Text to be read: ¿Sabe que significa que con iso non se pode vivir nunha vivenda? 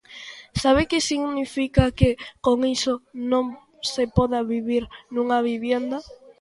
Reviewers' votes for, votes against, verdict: 0, 2, rejected